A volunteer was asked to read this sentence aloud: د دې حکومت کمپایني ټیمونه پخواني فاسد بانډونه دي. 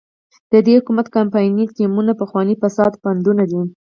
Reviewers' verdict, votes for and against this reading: rejected, 0, 4